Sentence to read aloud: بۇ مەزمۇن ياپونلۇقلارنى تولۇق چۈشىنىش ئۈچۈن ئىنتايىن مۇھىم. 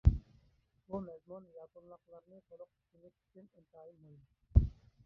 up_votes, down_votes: 0, 2